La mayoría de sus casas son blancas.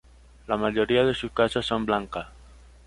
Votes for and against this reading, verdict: 0, 2, rejected